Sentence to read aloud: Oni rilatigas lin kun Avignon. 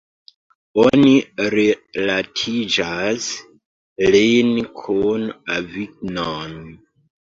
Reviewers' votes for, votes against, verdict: 1, 2, rejected